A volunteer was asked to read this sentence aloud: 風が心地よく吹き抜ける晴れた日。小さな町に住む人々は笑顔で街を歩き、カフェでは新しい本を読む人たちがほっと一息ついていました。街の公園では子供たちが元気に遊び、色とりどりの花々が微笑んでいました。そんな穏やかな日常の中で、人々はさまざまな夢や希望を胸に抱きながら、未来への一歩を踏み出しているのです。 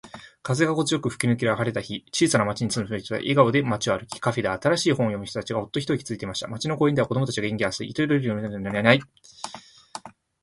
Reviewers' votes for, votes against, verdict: 1, 2, rejected